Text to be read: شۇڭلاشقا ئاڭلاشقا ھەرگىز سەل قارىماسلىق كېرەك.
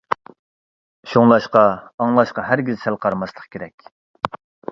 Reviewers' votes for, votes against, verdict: 2, 0, accepted